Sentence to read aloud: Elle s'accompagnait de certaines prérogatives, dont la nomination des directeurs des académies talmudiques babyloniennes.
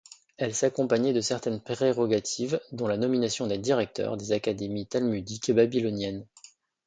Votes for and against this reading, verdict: 2, 0, accepted